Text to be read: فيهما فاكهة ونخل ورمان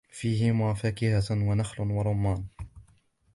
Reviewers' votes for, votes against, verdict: 2, 1, accepted